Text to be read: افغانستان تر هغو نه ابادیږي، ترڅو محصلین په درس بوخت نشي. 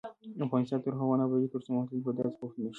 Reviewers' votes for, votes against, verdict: 1, 2, rejected